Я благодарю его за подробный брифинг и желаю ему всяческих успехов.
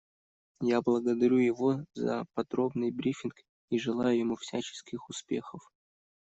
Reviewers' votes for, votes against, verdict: 2, 0, accepted